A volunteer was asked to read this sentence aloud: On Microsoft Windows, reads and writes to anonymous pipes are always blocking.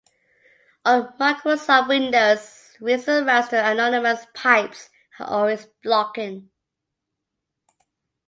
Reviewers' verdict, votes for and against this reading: accepted, 2, 1